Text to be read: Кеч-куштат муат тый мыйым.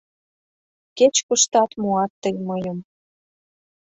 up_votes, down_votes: 2, 0